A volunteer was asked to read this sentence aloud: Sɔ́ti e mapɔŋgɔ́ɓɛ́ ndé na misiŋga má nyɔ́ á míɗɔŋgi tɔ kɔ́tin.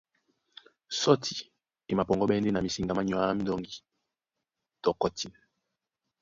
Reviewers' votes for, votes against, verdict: 1, 3, rejected